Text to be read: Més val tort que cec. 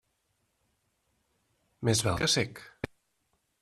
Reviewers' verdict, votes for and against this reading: rejected, 0, 2